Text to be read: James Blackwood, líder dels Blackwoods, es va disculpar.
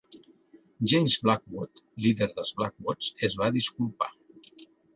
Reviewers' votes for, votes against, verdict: 2, 0, accepted